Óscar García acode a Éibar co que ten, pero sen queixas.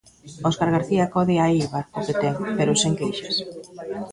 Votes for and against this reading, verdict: 1, 2, rejected